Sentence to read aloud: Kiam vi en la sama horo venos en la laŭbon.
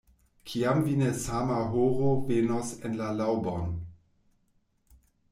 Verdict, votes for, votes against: rejected, 1, 2